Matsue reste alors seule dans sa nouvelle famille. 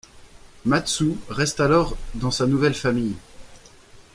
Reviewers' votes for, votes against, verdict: 1, 2, rejected